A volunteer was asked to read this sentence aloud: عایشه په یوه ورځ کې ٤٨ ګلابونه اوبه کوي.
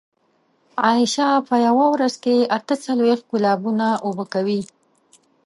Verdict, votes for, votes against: rejected, 0, 2